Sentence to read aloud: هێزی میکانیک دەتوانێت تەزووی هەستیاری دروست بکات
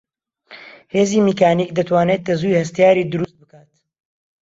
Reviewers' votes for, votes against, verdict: 0, 2, rejected